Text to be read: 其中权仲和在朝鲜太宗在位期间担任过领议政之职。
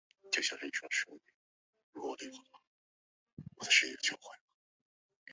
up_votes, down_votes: 2, 4